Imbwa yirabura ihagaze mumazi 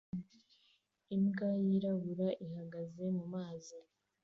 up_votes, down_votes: 2, 0